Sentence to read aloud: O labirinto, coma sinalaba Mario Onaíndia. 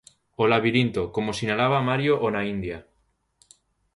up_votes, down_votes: 2, 0